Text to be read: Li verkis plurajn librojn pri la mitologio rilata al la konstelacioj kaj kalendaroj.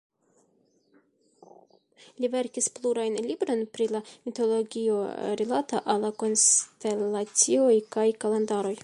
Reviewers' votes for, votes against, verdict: 1, 2, rejected